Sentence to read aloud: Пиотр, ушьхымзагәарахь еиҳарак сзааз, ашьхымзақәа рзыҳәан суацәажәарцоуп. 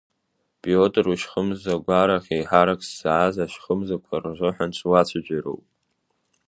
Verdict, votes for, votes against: rejected, 0, 2